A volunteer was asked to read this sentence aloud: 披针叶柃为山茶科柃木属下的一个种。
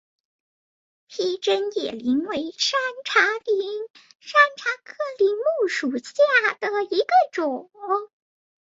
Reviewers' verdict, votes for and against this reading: rejected, 3, 8